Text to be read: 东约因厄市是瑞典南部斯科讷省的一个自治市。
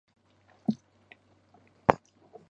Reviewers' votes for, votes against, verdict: 0, 2, rejected